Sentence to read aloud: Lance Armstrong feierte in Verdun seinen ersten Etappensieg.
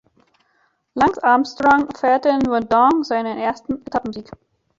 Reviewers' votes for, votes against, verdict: 1, 2, rejected